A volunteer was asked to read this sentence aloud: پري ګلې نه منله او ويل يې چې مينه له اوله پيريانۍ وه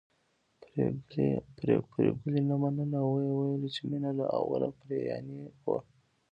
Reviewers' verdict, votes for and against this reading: rejected, 0, 2